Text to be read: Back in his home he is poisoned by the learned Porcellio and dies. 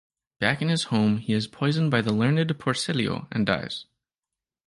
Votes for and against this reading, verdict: 3, 0, accepted